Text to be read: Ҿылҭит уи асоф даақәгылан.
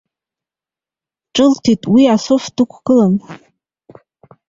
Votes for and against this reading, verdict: 1, 2, rejected